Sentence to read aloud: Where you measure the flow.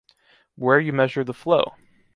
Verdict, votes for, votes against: accepted, 2, 0